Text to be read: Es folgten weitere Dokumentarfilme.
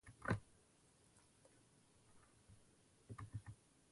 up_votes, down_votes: 0, 2